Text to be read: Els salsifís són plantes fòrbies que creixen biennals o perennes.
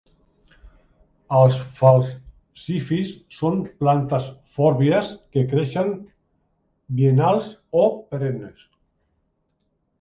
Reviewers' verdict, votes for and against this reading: rejected, 1, 2